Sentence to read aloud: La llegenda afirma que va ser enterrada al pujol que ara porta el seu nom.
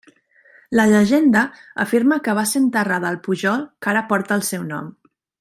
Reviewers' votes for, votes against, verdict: 3, 0, accepted